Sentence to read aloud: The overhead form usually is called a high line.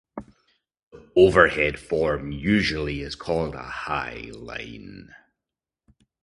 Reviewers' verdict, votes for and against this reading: rejected, 0, 2